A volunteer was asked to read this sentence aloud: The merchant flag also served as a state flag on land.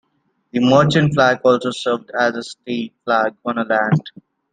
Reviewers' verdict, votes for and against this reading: rejected, 1, 2